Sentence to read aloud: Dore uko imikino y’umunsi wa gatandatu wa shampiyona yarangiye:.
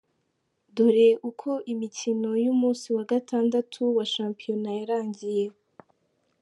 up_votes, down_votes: 2, 0